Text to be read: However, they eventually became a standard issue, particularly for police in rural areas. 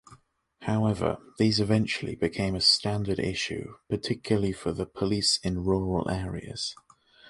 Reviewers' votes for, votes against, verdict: 1, 2, rejected